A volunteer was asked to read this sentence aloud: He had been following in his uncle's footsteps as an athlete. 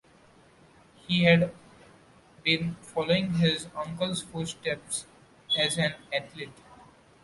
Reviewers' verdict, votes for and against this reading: accepted, 2, 1